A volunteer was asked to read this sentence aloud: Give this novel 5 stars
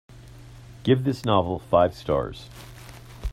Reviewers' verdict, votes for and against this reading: rejected, 0, 2